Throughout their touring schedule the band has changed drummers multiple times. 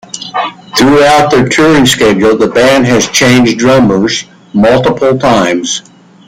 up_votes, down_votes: 1, 2